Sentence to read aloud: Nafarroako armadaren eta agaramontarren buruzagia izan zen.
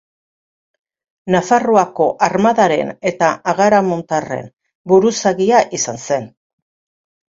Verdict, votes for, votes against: accepted, 2, 0